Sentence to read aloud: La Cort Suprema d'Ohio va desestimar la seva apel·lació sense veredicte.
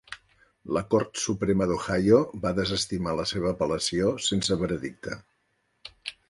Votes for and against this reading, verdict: 3, 0, accepted